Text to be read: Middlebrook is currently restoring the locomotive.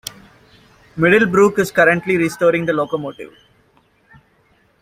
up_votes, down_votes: 2, 1